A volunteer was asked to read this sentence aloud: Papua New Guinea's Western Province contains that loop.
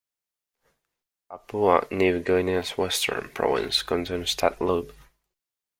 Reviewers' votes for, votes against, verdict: 0, 2, rejected